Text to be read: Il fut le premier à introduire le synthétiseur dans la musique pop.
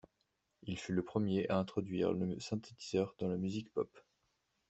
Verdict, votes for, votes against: accepted, 2, 0